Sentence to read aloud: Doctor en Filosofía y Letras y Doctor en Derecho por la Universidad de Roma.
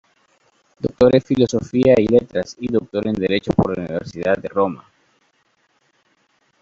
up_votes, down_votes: 2, 1